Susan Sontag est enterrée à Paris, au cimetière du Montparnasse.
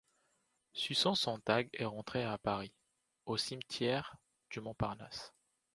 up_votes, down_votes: 0, 2